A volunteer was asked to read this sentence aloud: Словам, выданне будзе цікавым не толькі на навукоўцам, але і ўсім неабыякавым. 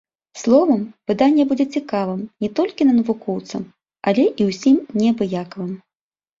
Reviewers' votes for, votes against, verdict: 2, 0, accepted